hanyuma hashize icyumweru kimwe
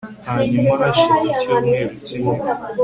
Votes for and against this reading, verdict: 2, 0, accepted